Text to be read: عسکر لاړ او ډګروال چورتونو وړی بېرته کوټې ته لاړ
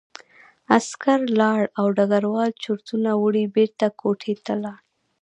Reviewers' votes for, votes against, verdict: 1, 2, rejected